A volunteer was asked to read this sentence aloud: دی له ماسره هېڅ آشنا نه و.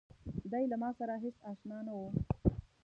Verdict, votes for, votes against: rejected, 1, 2